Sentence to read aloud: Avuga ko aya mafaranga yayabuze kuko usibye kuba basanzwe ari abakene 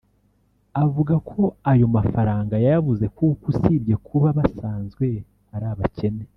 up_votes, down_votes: 0, 2